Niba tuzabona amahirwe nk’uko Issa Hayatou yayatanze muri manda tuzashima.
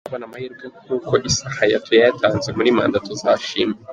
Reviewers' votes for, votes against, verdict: 0, 2, rejected